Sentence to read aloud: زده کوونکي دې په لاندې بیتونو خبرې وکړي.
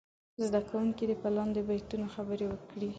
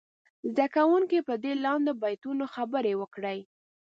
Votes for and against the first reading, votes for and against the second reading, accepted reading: 2, 0, 1, 2, first